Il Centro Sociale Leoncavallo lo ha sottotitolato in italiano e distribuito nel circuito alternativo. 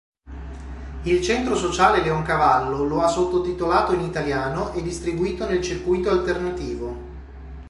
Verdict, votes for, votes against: accepted, 2, 0